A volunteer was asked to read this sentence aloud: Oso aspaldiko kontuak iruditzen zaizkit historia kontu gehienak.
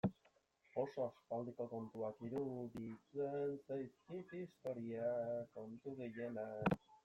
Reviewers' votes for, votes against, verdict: 0, 2, rejected